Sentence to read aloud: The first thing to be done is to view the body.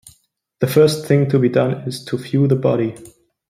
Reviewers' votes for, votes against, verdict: 2, 0, accepted